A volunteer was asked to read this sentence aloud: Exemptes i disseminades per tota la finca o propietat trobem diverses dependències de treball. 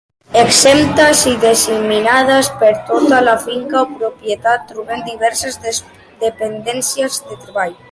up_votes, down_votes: 2, 0